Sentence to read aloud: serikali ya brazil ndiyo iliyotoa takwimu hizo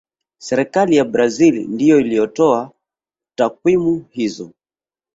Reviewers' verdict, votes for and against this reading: accepted, 3, 0